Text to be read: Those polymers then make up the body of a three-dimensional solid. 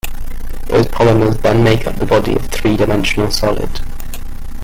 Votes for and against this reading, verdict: 1, 2, rejected